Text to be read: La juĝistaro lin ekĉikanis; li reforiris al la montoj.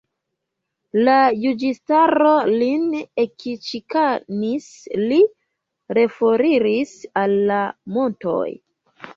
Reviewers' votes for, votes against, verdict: 0, 2, rejected